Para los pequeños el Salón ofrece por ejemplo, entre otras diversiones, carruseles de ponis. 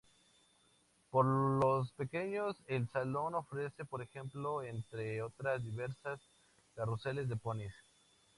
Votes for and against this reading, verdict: 2, 0, accepted